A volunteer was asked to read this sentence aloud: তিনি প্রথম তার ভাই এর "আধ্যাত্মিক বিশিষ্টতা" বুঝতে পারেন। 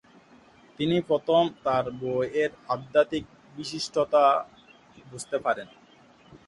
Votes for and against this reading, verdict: 0, 3, rejected